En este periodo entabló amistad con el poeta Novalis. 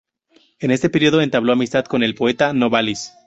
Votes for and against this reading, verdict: 0, 2, rejected